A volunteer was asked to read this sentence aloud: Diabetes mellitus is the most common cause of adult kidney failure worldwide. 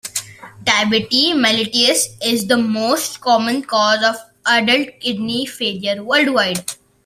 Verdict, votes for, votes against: accepted, 2, 0